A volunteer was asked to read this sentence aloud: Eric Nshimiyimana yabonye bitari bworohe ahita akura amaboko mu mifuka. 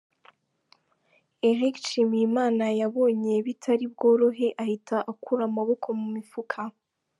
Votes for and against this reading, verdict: 2, 0, accepted